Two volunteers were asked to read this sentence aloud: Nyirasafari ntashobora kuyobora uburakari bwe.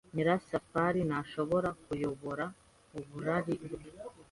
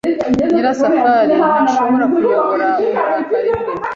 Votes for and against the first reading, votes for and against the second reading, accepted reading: 0, 2, 2, 0, second